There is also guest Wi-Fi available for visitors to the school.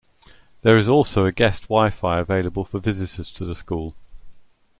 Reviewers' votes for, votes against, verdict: 0, 2, rejected